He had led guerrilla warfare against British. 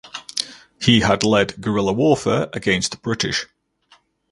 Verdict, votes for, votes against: rejected, 0, 2